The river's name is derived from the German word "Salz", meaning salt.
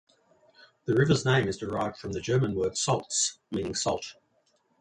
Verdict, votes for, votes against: accepted, 2, 0